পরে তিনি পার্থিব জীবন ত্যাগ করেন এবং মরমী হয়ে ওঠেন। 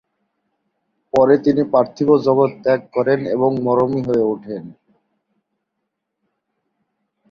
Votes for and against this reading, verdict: 2, 3, rejected